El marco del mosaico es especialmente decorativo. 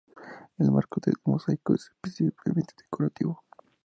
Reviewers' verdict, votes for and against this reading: rejected, 0, 2